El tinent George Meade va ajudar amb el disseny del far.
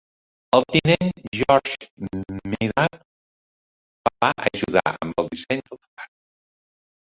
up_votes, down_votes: 0, 2